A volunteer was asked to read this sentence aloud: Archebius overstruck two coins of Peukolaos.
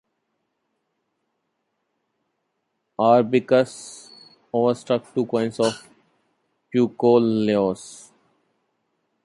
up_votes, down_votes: 1, 2